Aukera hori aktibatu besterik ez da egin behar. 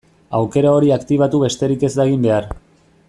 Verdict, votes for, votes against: accepted, 2, 0